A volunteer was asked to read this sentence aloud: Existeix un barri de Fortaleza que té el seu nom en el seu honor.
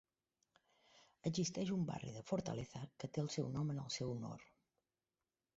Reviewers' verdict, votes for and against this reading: rejected, 0, 4